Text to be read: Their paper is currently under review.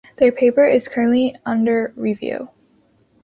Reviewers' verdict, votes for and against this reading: accepted, 2, 0